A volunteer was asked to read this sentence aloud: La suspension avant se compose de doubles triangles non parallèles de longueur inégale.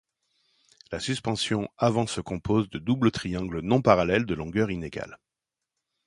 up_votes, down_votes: 2, 0